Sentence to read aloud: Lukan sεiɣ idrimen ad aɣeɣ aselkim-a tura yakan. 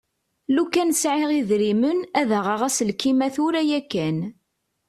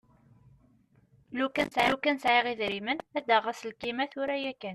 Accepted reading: first